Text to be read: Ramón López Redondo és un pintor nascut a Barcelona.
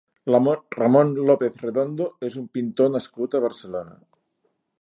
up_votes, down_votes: 1, 2